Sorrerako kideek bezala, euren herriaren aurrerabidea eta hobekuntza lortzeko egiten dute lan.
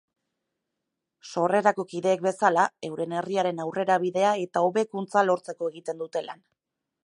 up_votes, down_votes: 2, 0